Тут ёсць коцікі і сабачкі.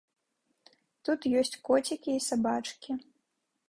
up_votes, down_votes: 2, 0